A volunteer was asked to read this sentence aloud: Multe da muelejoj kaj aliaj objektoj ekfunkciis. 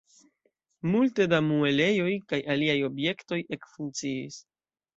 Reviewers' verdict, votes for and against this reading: accepted, 2, 0